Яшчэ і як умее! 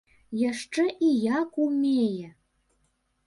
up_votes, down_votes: 2, 0